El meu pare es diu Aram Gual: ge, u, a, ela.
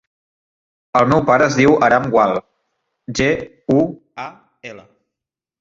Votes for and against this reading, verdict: 2, 0, accepted